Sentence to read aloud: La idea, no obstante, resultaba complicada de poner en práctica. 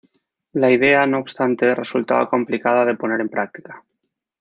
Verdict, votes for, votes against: rejected, 1, 2